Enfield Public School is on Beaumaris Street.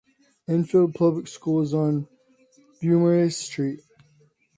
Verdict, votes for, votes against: accepted, 2, 1